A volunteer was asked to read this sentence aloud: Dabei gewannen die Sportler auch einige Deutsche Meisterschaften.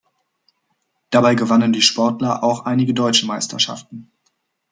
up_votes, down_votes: 2, 0